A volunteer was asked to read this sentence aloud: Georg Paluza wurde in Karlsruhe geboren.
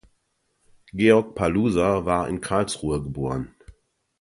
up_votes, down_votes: 0, 2